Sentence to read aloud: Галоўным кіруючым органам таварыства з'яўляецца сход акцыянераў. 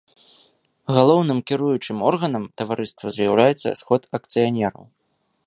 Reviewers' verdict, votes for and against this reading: rejected, 0, 2